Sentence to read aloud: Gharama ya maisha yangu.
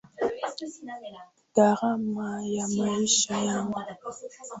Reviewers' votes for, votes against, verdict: 2, 0, accepted